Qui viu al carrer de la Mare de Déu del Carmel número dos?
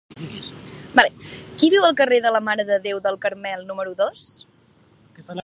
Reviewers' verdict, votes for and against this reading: rejected, 0, 2